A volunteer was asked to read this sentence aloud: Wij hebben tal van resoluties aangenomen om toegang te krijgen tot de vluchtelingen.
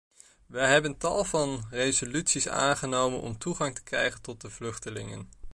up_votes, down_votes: 2, 0